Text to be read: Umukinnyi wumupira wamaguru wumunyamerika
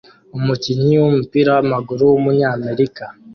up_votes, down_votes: 2, 1